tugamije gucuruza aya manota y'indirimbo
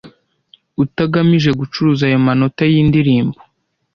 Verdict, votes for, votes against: rejected, 1, 2